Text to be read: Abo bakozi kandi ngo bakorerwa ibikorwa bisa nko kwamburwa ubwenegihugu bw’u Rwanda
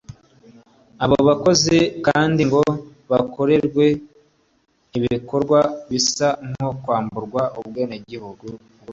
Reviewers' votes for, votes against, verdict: 1, 2, rejected